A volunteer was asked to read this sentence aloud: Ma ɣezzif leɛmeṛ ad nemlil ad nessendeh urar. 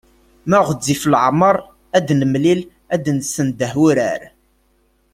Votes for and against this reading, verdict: 1, 2, rejected